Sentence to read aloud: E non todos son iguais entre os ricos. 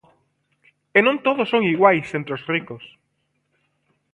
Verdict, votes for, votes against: accepted, 2, 0